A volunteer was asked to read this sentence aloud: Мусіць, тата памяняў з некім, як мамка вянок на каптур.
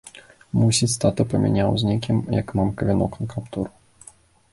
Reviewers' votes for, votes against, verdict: 2, 0, accepted